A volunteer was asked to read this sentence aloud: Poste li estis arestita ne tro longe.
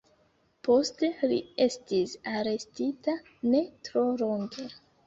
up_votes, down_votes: 2, 0